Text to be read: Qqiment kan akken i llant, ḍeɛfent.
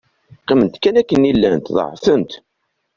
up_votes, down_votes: 2, 0